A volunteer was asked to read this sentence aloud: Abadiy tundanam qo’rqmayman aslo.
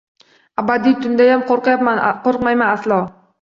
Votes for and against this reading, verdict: 0, 2, rejected